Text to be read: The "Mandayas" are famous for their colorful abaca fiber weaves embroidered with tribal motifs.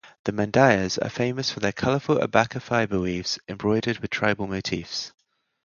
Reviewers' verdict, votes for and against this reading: accepted, 4, 0